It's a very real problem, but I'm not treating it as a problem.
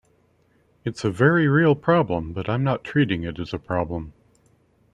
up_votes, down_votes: 2, 0